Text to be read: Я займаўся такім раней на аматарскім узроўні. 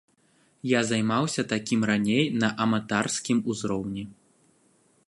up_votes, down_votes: 1, 2